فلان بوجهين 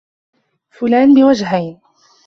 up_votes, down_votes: 2, 0